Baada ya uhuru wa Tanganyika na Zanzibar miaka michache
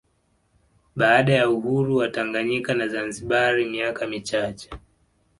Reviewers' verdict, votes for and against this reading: accepted, 2, 0